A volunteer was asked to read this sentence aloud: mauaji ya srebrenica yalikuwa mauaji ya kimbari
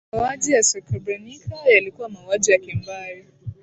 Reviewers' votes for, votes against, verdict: 2, 0, accepted